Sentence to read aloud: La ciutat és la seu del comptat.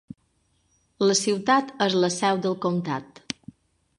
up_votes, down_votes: 0, 2